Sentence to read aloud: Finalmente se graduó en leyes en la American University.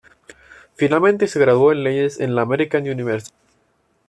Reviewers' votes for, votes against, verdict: 2, 0, accepted